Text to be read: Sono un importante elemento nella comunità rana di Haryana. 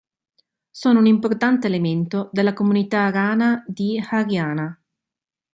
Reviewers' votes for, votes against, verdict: 1, 2, rejected